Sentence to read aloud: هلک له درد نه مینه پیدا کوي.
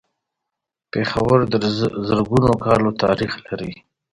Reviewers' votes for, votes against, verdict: 1, 2, rejected